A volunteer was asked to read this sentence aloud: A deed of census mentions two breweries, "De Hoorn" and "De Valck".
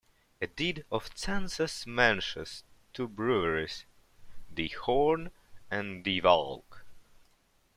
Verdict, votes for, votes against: accepted, 2, 0